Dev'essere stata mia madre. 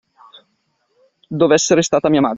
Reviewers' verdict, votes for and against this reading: accepted, 2, 0